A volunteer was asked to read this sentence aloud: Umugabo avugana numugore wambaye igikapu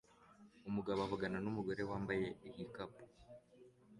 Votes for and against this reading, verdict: 2, 0, accepted